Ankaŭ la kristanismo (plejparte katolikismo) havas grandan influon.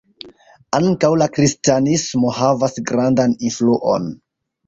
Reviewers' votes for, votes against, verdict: 0, 2, rejected